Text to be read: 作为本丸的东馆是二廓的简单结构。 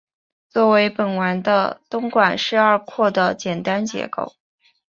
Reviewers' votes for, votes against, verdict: 2, 0, accepted